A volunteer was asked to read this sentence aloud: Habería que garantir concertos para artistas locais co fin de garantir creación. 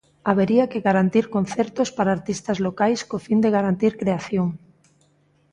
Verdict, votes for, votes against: accepted, 2, 0